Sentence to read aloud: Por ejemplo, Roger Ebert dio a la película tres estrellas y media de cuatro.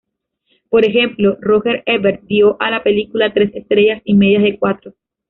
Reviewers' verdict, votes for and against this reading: rejected, 0, 2